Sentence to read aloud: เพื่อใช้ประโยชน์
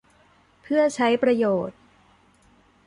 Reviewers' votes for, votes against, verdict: 2, 0, accepted